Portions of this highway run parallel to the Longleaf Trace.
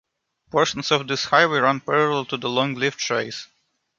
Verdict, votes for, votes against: accepted, 2, 1